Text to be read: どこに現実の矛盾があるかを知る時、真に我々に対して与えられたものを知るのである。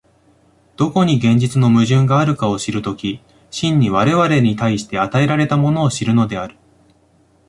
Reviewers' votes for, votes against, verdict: 0, 2, rejected